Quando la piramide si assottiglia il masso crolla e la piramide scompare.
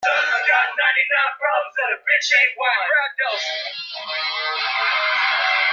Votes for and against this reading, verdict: 0, 3, rejected